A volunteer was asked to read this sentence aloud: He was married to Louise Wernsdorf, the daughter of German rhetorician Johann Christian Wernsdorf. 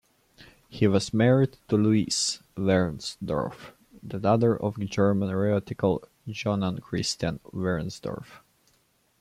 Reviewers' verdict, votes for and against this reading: rejected, 1, 2